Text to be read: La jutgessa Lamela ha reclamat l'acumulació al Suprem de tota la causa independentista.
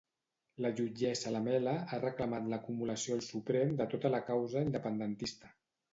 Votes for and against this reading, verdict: 2, 1, accepted